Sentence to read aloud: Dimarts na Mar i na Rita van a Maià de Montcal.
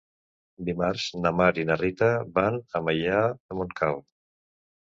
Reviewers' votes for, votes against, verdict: 2, 0, accepted